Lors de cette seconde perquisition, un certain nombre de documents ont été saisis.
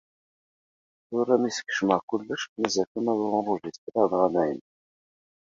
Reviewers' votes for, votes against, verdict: 1, 2, rejected